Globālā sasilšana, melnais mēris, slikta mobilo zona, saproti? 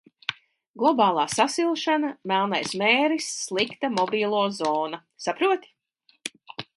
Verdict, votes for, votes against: accepted, 2, 0